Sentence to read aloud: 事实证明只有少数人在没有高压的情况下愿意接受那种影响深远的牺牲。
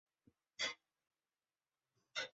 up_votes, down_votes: 2, 3